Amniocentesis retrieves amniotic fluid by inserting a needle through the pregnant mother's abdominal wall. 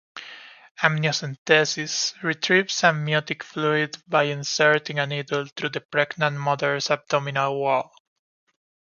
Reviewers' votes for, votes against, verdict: 2, 0, accepted